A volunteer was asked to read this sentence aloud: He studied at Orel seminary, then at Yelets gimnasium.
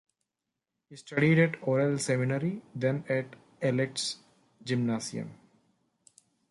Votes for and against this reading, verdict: 1, 2, rejected